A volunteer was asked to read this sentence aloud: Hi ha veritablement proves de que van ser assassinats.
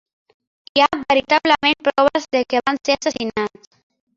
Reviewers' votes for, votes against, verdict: 1, 3, rejected